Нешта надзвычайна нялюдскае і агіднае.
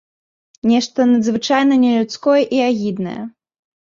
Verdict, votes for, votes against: rejected, 0, 2